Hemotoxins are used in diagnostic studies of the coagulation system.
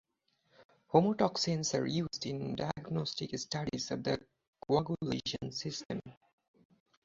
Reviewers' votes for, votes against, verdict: 0, 4, rejected